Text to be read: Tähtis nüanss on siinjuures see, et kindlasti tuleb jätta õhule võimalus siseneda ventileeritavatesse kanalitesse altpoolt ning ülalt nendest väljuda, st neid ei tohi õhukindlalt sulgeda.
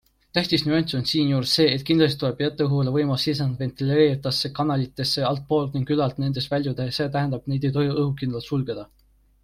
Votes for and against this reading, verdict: 2, 1, accepted